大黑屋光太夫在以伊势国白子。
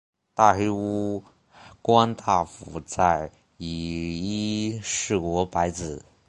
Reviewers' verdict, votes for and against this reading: accepted, 3, 1